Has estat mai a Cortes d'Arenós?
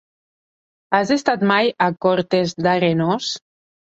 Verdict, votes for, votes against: accepted, 4, 0